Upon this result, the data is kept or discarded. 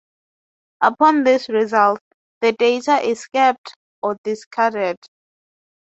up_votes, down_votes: 2, 6